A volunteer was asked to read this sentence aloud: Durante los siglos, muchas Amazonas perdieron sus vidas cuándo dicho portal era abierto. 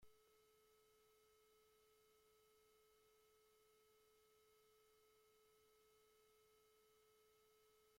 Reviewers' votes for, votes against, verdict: 0, 2, rejected